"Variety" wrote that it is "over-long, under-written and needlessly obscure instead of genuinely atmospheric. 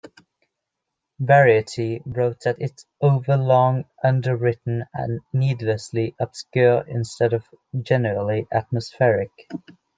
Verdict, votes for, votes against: rejected, 0, 2